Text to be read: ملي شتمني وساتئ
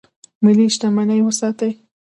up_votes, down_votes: 1, 2